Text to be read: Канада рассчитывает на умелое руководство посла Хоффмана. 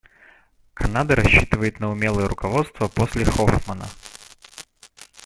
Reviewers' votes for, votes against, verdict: 0, 2, rejected